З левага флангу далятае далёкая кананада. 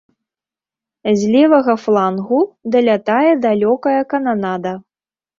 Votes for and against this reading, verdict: 2, 0, accepted